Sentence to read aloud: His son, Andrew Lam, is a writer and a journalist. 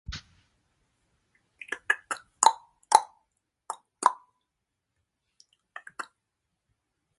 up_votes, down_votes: 0, 2